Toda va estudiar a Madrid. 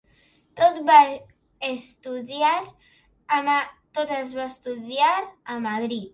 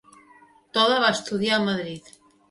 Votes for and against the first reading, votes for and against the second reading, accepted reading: 0, 3, 3, 0, second